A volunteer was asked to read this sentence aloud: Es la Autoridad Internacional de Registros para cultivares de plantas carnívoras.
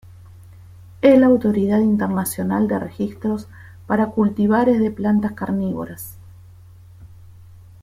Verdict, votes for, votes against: rejected, 1, 2